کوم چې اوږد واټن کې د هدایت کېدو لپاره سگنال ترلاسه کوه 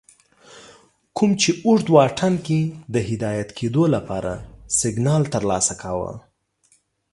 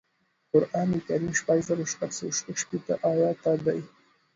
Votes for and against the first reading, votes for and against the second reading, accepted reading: 2, 1, 0, 2, first